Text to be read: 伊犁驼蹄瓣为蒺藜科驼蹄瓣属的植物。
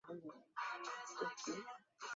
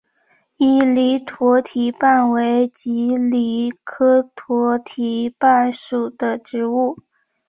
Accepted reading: second